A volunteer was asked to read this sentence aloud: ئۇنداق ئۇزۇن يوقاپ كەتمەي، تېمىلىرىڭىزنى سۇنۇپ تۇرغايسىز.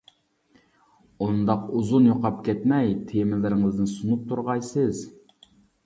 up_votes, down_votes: 3, 0